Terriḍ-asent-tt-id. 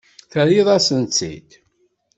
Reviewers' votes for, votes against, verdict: 2, 0, accepted